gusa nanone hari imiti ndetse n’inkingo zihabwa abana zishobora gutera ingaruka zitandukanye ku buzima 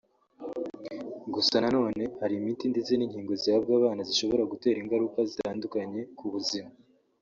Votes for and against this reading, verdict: 2, 0, accepted